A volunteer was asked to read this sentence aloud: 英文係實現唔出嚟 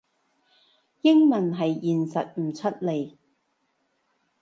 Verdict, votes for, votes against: rejected, 0, 2